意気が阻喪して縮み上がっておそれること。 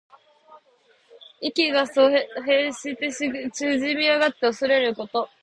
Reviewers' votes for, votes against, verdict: 2, 1, accepted